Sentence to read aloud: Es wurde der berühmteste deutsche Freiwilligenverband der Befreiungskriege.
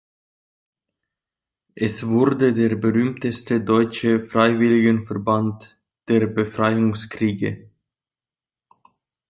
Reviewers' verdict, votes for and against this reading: accepted, 2, 0